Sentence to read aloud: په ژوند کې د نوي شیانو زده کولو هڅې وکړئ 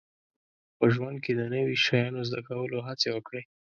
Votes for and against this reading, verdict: 2, 0, accepted